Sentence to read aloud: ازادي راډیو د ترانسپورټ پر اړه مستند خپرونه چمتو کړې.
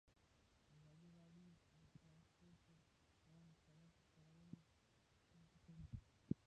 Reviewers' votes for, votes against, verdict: 1, 2, rejected